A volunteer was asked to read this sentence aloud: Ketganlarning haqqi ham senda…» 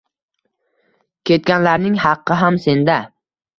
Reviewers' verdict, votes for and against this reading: accepted, 2, 0